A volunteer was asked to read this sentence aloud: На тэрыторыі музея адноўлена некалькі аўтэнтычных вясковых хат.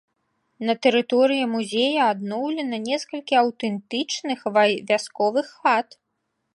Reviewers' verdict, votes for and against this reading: rejected, 0, 2